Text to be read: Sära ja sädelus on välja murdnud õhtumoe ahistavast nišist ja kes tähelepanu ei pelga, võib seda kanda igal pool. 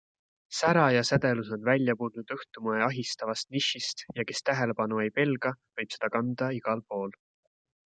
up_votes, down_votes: 2, 0